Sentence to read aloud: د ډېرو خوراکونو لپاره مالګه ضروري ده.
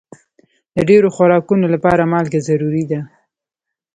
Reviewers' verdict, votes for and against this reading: accepted, 2, 0